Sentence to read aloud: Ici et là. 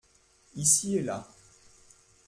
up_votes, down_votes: 2, 0